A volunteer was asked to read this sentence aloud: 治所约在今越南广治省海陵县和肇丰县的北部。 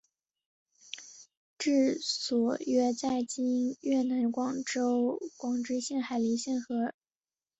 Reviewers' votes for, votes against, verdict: 0, 2, rejected